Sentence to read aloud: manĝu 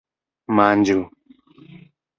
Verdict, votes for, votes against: accepted, 2, 0